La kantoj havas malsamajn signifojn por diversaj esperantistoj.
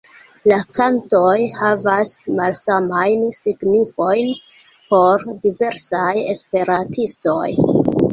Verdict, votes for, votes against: accepted, 2, 0